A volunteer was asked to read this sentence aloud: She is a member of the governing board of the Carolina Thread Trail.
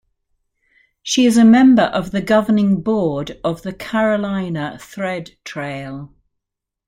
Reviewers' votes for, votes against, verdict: 2, 0, accepted